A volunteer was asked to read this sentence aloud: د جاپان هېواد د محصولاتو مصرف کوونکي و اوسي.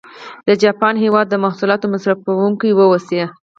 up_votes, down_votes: 4, 0